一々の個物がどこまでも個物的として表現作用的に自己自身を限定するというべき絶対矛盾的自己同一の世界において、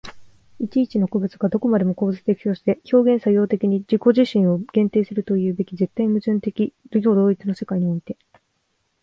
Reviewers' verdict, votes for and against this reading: rejected, 0, 2